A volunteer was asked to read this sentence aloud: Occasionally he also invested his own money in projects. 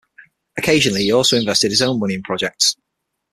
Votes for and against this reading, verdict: 6, 3, accepted